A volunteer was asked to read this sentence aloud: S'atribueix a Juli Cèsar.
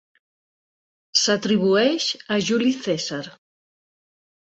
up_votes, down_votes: 2, 0